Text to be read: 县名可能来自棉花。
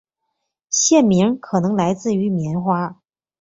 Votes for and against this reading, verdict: 2, 0, accepted